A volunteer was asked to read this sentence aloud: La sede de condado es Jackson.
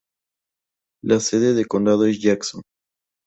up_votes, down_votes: 6, 0